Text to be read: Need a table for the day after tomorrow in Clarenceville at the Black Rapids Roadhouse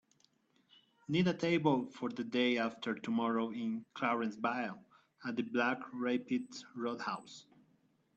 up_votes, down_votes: 1, 2